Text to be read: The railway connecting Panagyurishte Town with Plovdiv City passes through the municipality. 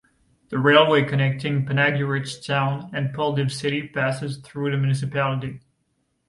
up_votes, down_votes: 0, 2